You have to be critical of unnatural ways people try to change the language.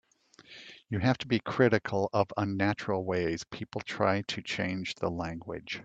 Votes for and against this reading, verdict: 2, 0, accepted